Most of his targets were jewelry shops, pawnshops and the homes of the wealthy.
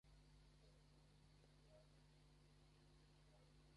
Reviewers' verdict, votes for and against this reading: rejected, 0, 2